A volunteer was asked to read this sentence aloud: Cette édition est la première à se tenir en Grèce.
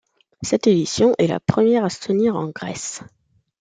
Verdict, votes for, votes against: accepted, 2, 0